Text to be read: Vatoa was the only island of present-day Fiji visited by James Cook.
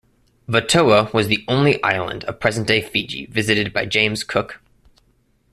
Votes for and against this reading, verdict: 2, 0, accepted